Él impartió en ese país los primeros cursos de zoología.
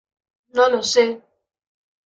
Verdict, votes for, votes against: rejected, 0, 2